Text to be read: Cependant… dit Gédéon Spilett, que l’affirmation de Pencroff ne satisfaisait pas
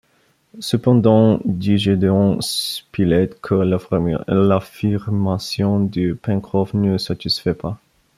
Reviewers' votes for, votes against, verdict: 0, 3, rejected